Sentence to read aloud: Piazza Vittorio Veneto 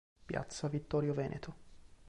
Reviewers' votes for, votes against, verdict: 2, 0, accepted